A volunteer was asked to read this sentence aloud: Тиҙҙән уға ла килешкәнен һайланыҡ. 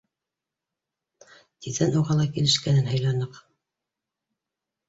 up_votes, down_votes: 4, 0